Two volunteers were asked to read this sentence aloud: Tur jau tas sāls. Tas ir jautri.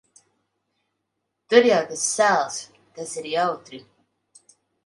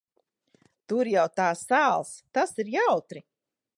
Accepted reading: first